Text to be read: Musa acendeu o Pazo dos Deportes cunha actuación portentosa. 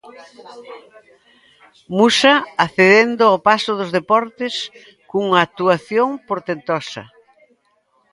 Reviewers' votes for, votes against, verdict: 0, 2, rejected